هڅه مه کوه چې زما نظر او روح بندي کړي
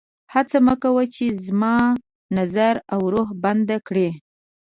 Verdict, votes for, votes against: rejected, 2, 4